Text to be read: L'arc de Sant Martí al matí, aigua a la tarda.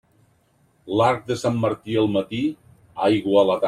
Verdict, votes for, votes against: rejected, 0, 2